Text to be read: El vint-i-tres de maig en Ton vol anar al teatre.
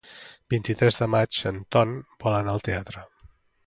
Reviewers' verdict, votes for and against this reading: rejected, 0, 2